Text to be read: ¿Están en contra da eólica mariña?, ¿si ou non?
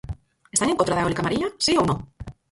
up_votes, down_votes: 0, 4